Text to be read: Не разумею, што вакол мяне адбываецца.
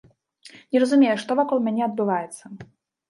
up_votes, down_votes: 2, 0